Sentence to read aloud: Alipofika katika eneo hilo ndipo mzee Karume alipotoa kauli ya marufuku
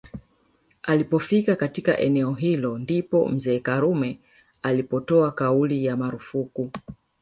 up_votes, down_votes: 0, 2